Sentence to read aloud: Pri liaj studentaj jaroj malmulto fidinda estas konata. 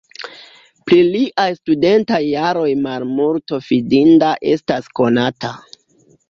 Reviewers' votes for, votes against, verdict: 2, 0, accepted